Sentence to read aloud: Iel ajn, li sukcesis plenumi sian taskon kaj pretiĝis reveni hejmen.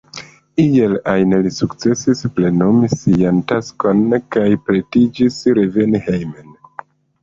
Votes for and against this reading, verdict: 0, 2, rejected